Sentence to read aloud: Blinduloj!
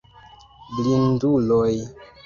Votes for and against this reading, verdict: 2, 1, accepted